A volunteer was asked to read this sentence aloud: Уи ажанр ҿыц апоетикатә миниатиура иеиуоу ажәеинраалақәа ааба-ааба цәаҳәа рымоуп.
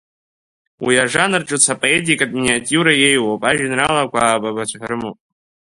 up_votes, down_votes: 1, 2